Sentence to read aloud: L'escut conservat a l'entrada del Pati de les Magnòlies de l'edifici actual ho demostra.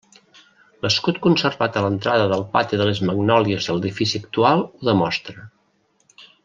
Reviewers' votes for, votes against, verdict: 0, 2, rejected